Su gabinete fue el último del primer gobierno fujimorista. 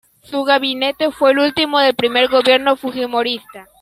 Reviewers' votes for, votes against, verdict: 2, 1, accepted